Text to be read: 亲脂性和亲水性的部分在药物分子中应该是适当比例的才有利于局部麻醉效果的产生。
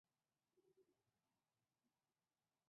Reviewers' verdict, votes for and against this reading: rejected, 1, 2